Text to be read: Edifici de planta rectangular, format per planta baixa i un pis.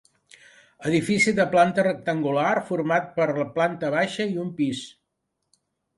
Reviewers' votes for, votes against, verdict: 1, 2, rejected